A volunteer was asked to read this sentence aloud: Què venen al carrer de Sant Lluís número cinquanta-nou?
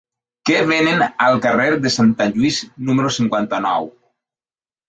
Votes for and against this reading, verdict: 0, 2, rejected